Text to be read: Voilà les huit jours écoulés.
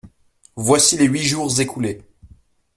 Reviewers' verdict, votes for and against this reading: rejected, 0, 2